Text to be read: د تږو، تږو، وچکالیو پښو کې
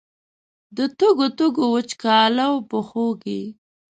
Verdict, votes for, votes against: rejected, 1, 2